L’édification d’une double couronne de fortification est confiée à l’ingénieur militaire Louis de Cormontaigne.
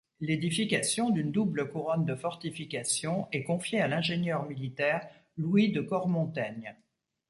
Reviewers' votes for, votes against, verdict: 2, 0, accepted